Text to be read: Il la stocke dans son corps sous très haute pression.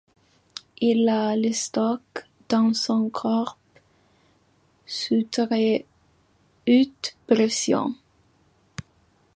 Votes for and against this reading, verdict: 2, 0, accepted